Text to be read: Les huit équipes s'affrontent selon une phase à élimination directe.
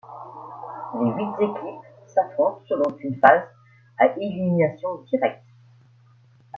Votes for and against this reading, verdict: 2, 1, accepted